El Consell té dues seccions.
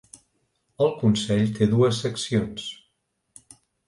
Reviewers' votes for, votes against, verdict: 3, 0, accepted